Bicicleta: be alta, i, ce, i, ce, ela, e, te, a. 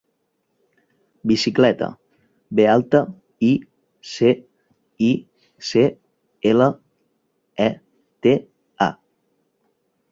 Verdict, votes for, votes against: accepted, 3, 0